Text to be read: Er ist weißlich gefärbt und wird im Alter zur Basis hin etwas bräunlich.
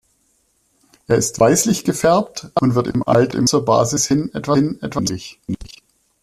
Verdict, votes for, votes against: rejected, 0, 2